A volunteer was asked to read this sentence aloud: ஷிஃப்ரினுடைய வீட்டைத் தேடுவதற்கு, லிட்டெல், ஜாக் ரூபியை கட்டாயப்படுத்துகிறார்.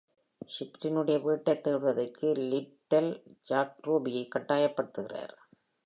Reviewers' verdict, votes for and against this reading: accepted, 2, 0